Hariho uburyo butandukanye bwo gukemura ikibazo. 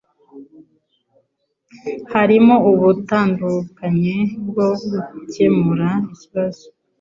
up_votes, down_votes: 0, 2